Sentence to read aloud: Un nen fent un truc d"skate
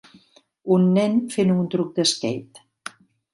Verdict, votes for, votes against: accepted, 2, 0